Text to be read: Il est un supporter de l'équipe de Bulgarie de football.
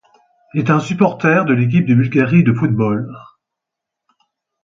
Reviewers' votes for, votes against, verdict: 2, 4, rejected